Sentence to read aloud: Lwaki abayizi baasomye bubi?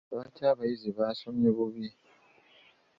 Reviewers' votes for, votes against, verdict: 2, 0, accepted